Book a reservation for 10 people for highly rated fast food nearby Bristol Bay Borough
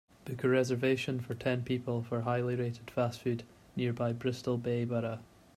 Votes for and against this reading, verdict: 0, 2, rejected